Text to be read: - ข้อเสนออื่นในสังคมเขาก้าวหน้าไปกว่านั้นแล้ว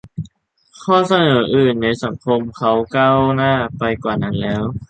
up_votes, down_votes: 2, 0